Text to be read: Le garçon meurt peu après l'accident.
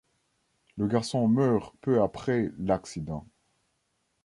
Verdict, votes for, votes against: accepted, 2, 0